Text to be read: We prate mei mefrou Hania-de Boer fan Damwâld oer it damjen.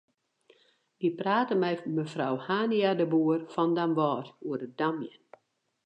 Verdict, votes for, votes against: rejected, 2, 2